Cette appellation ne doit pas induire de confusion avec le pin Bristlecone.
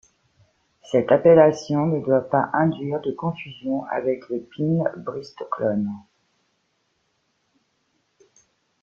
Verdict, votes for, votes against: rejected, 0, 2